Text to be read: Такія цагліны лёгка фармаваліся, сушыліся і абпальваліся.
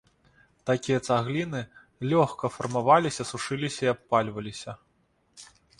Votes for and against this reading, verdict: 2, 0, accepted